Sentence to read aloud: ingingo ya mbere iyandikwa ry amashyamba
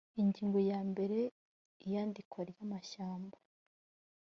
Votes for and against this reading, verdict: 2, 1, accepted